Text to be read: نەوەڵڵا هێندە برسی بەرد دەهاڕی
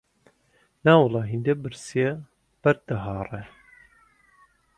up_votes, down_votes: 1, 2